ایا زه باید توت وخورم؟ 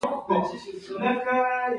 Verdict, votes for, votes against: accepted, 2, 0